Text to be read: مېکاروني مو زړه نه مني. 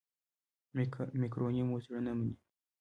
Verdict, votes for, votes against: rejected, 1, 2